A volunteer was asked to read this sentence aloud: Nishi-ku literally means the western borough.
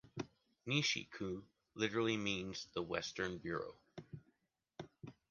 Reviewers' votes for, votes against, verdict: 1, 2, rejected